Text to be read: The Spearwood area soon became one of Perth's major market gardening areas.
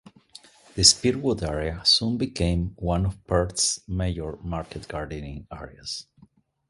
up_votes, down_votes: 1, 2